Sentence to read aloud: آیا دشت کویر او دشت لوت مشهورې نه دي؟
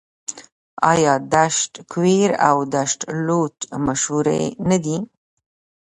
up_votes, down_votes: 1, 2